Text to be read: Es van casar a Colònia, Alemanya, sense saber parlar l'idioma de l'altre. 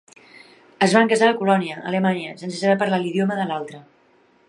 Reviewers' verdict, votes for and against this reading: rejected, 1, 2